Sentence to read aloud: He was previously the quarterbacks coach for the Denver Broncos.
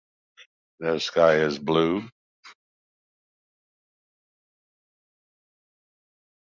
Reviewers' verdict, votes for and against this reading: rejected, 0, 2